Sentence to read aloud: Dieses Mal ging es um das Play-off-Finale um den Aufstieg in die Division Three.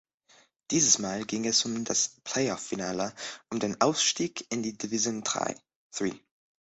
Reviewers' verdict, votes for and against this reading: rejected, 0, 2